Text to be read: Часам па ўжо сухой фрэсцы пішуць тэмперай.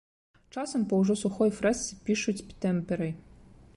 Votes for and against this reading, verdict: 2, 0, accepted